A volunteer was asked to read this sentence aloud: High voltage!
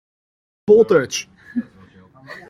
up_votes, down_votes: 0, 2